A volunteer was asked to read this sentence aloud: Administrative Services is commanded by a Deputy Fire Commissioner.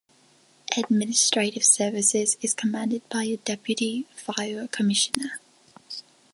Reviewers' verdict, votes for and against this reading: accepted, 2, 0